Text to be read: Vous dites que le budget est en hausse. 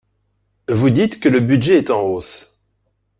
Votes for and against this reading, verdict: 4, 0, accepted